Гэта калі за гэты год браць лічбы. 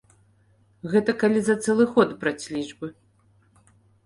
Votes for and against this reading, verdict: 0, 2, rejected